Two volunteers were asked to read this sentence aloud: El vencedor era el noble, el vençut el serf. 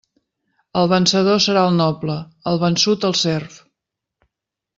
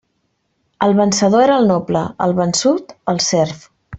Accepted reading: second